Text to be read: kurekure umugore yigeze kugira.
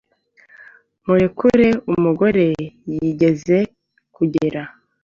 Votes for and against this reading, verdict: 2, 0, accepted